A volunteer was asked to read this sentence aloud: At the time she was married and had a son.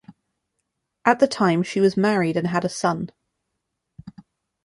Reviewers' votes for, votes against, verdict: 2, 0, accepted